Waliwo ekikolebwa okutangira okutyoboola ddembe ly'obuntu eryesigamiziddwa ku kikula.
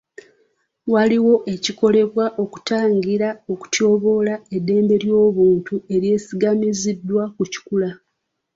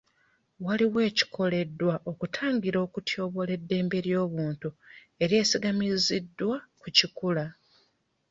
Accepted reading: first